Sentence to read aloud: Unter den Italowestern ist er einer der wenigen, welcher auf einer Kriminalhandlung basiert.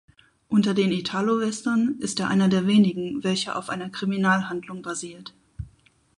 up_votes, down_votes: 4, 0